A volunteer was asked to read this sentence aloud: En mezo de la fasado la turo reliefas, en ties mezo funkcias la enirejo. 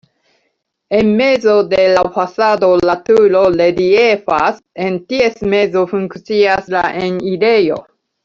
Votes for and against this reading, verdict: 1, 2, rejected